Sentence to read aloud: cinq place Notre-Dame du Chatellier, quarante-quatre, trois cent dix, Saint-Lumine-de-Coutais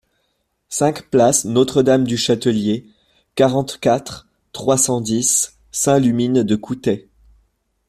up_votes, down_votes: 0, 2